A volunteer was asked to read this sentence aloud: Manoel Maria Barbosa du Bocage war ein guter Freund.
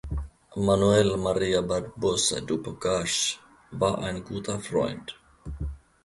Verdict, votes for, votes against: accepted, 2, 0